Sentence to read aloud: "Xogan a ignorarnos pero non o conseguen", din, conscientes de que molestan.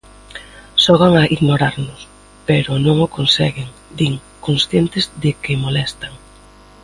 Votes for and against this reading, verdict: 2, 0, accepted